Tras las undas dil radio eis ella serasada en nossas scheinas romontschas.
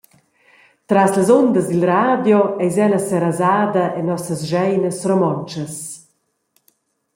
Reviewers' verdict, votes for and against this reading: accepted, 2, 0